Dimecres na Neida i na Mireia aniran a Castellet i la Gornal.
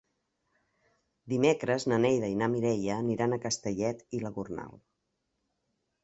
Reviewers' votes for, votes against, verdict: 2, 0, accepted